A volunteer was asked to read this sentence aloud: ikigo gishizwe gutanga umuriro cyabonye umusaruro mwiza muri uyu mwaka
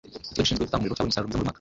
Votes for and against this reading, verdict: 2, 0, accepted